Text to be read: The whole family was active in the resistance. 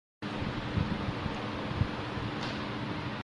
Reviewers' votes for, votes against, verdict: 0, 2, rejected